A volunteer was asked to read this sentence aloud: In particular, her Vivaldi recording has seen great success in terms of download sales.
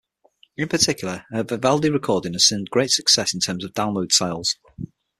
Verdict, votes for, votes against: accepted, 6, 3